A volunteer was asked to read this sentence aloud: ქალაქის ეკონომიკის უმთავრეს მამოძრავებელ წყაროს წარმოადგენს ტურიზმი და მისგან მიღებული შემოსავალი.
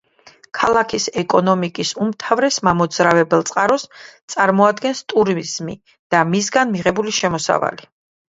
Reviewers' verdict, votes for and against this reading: accepted, 2, 0